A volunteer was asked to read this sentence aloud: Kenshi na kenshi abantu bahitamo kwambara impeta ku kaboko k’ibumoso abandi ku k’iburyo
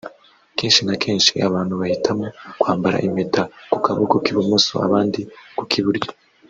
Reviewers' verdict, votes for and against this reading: rejected, 0, 2